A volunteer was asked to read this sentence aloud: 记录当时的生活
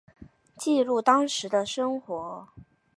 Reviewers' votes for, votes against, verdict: 3, 1, accepted